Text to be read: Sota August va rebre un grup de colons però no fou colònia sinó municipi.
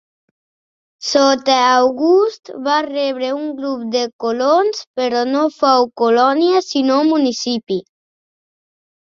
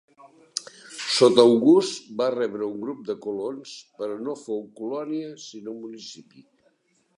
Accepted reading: first